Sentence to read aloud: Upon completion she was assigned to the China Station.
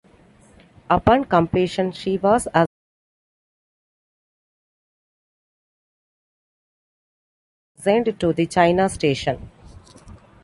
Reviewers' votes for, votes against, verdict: 2, 1, accepted